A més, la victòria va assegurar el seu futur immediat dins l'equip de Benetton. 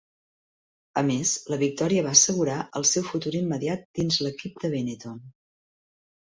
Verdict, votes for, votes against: accepted, 3, 0